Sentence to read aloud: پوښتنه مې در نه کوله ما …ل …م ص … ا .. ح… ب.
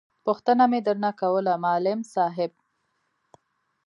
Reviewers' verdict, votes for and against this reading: accepted, 2, 1